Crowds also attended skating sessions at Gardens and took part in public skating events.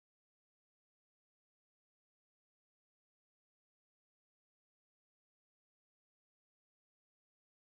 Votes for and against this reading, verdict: 0, 2, rejected